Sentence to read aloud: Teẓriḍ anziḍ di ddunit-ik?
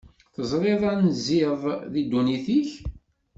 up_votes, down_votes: 2, 0